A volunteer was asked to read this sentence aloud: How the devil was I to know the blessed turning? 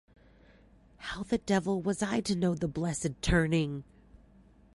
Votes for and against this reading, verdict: 2, 0, accepted